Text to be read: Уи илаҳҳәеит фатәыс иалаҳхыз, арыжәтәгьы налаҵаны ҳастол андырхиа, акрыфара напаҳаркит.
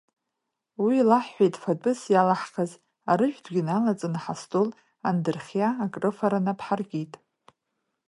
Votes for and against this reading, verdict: 2, 1, accepted